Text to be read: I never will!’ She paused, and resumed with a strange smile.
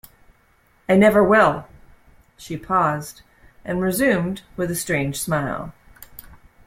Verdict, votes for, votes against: accepted, 2, 1